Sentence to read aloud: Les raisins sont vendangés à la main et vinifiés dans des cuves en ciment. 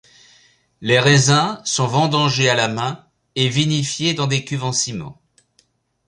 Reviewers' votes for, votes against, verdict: 2, 0, accepted